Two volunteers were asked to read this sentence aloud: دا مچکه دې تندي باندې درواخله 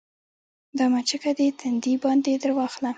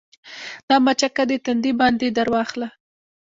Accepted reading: first